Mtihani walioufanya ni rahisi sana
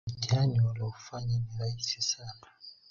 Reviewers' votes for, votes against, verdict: 3, 0, accepted